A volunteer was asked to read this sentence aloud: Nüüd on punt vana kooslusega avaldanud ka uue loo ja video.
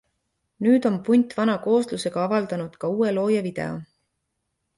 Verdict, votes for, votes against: accepted, 2, 0